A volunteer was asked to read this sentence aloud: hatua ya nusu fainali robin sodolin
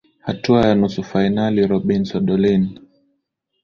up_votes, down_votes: 2, 0